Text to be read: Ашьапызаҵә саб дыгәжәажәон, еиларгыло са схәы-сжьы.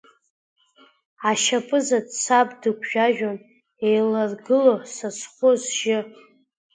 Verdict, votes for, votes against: accepted, 2, 0